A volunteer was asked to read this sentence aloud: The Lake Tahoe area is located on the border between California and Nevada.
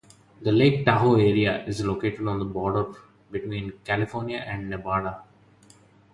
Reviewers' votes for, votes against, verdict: 2, 0, accepted